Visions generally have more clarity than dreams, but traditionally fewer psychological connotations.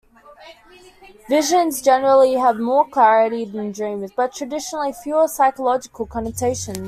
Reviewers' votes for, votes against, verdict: 2, 0, accepted